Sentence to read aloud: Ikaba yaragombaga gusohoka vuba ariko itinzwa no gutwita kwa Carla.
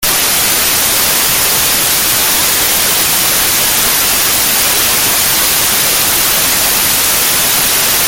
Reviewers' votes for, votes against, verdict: 0, 2, rejected